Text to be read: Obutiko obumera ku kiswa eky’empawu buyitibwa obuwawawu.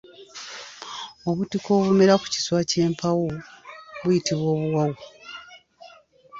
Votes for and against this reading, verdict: 1, 2, rejected